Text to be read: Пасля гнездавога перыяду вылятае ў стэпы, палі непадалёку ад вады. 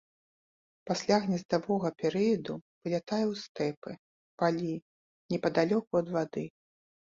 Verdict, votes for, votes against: accepted, 3, 0